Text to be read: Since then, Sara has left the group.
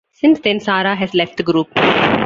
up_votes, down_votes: 2, 1